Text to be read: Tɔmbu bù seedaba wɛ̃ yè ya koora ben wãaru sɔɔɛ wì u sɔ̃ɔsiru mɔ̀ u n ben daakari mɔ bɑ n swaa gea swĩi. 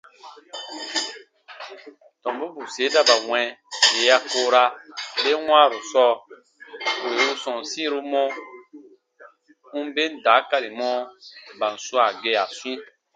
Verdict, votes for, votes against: rejected, 1, 2